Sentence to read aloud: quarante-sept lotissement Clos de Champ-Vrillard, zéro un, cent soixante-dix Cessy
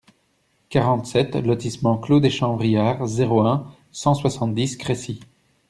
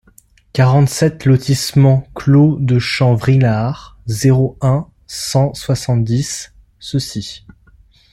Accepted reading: second